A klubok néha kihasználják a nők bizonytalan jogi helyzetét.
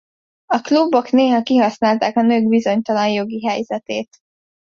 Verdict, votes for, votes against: rejected, 1, 2